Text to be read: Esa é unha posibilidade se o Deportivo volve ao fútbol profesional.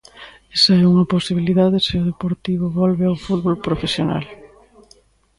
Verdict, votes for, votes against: accepted, 2, 0